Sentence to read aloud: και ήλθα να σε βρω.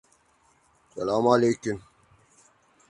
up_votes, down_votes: 0, 2